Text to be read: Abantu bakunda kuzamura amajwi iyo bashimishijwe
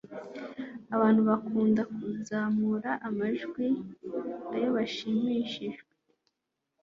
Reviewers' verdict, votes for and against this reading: accepted, 3, 0